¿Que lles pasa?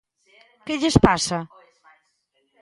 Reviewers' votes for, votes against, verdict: 2, 0, accepted